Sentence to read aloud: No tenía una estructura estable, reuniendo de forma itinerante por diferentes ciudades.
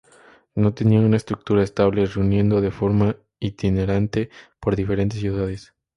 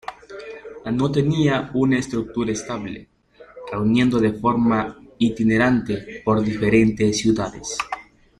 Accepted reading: first